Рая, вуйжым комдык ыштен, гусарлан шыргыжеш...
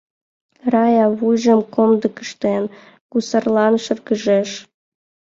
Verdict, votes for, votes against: accepted, 2, 0